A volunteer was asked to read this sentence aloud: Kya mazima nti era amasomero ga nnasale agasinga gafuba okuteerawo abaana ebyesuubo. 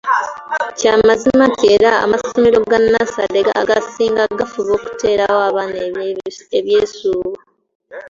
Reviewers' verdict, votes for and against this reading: rejected, 0, 2